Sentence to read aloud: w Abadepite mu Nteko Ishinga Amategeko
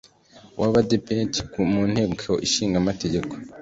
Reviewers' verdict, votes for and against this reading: rejected, 1, 2